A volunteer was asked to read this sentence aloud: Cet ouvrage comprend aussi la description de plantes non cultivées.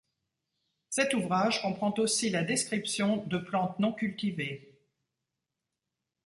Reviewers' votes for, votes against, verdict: 2, 0, accepted